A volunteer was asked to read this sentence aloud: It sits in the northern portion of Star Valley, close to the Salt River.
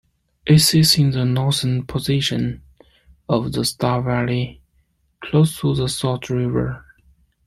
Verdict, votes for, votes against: rejected, 1, 2